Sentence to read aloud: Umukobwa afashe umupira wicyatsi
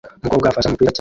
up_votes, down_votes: 0, 2